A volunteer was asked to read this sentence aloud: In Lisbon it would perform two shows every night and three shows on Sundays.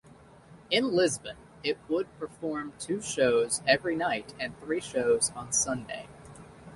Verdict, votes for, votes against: rejected, 1, 2